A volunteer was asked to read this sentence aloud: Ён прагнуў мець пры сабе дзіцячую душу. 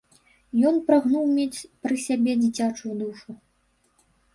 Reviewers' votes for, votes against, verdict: 1, 2, rejected